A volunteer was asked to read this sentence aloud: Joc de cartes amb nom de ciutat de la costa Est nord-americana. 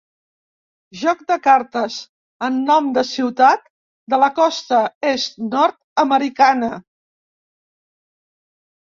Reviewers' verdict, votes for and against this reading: accepted, 2, 0